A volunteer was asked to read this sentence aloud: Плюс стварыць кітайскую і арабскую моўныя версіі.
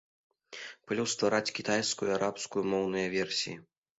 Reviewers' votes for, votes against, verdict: 0, 2, rejected